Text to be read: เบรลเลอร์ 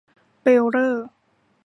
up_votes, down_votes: 2, 0